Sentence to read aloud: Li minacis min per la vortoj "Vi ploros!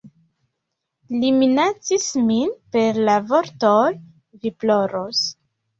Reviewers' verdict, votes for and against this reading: accepted, 2, 0